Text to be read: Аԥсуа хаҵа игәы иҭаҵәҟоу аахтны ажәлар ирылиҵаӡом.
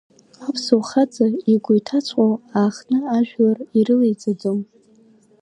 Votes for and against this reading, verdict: 2, 0, accepted